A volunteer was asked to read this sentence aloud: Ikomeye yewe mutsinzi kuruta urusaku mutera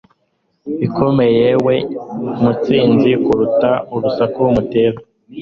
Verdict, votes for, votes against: accepted, 2, 0